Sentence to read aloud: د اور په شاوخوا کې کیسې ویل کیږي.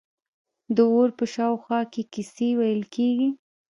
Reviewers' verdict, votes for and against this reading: rejected, 1, 2